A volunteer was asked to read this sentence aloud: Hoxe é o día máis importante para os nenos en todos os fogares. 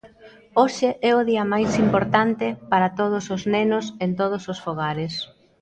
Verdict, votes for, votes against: rejected, 0, 2